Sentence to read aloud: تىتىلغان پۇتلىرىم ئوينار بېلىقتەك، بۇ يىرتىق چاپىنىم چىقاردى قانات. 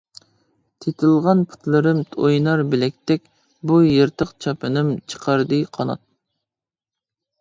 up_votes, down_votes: 0, 2